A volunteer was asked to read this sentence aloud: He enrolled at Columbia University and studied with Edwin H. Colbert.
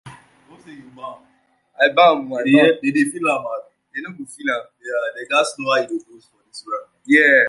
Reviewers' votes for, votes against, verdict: 0, 2, rejected